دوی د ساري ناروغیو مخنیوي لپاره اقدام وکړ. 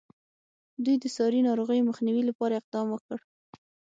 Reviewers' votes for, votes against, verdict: 6, 0, accepted